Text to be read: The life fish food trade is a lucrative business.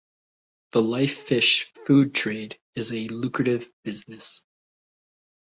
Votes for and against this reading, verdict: 2, 0, accepted